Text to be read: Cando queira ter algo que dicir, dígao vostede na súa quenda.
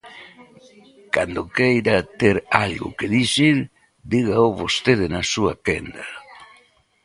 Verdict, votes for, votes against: rejected, 1, 2